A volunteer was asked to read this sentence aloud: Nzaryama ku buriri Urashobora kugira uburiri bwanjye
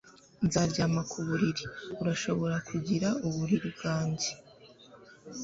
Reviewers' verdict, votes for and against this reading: accepted, 3, 0